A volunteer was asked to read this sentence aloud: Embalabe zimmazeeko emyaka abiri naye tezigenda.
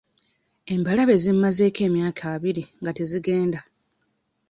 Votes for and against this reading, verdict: 2, 0, accepted